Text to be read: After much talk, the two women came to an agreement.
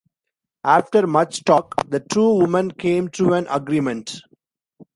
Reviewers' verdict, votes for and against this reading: accepted, 2, 0